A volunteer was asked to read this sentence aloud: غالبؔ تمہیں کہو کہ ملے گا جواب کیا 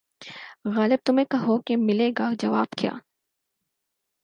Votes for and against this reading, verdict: 6, 0, accepted